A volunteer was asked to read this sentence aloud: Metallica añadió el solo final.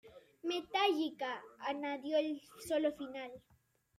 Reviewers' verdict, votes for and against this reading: rejected, 1, 2